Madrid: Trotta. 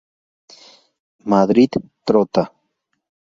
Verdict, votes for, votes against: accepted, 2, 0